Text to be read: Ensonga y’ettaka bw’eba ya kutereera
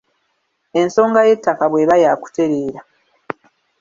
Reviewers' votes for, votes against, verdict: 2, 0, accepted